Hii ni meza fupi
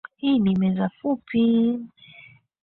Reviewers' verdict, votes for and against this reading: accepted, 2, 1